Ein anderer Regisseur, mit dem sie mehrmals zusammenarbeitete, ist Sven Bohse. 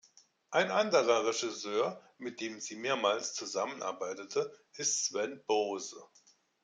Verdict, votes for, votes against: accepted, 2, 0